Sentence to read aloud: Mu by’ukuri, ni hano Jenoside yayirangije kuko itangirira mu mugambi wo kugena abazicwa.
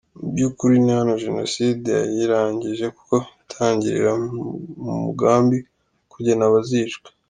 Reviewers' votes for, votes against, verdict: 2, 1, accepted